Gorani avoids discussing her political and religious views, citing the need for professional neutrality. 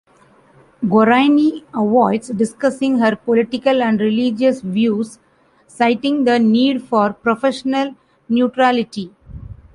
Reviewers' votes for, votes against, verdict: 2, 0, accepted